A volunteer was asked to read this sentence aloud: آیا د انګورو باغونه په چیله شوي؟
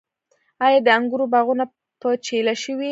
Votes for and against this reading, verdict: 0, 2, rejected